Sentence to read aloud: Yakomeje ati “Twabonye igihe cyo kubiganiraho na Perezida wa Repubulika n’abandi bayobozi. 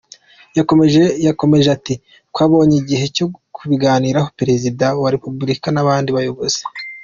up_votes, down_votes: 0, 2